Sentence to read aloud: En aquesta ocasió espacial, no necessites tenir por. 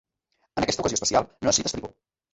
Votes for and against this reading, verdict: 0, 2, rejected